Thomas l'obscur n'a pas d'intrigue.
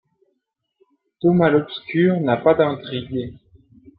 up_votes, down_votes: 2, 1